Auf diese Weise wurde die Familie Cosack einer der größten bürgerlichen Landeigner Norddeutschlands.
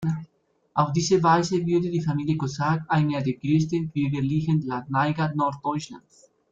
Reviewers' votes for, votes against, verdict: 0, 2, rejected